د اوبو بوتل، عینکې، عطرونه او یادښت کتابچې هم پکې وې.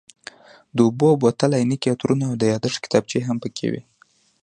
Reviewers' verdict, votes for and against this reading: rejected, 0, 2